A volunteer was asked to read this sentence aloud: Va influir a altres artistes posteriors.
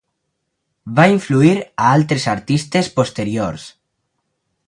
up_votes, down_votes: 4, 0